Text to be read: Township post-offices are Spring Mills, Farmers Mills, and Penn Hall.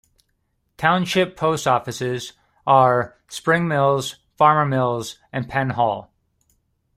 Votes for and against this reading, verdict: 2, 0, accepted